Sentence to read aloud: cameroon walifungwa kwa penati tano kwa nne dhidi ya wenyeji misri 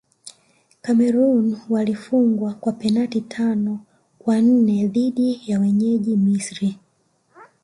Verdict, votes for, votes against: rejected, 0, 2